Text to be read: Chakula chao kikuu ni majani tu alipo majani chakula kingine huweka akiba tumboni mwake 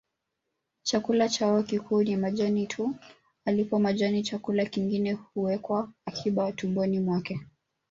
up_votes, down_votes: 0, 2